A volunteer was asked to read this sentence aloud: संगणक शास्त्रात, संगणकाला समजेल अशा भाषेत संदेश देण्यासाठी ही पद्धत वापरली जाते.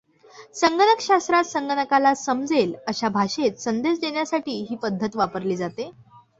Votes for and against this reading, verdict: 2, 0, accepted